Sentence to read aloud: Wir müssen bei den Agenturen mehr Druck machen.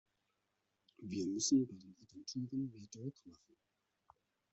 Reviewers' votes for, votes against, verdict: 0, 2, rejected